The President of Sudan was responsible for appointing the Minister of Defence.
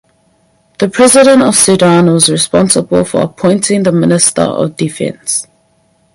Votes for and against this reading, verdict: 4, 0, accepted